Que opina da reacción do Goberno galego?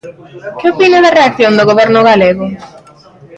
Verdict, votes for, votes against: rejected, 1, 2